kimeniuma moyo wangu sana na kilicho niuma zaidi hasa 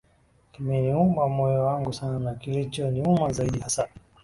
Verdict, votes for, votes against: accepted, 2, 1